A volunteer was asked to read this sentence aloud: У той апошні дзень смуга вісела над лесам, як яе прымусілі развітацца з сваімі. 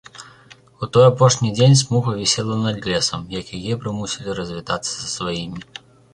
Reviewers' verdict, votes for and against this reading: rejected, 1, 2